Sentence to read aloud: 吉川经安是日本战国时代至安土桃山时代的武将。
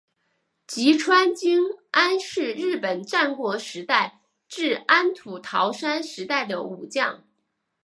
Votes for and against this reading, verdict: 2, 0, accepted